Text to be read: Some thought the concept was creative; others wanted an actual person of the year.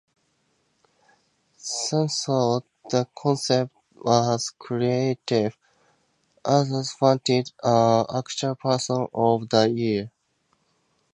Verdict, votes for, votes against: rejected, 0, 4